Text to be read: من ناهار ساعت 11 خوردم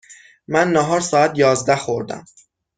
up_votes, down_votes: 0, 2